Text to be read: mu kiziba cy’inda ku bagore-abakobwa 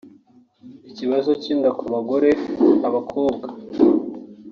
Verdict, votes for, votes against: rejected, 1, 2